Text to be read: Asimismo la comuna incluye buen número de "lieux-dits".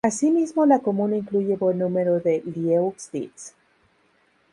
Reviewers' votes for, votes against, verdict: 0, 2, rejected